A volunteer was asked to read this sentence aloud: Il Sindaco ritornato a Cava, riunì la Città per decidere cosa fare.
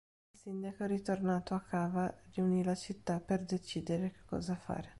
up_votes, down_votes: 1, 3